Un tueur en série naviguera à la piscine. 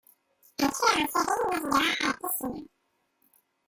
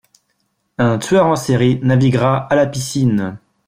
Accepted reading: second